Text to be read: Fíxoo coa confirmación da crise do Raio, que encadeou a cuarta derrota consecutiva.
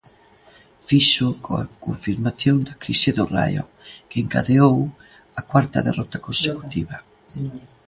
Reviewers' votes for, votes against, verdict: 1, 2, rejected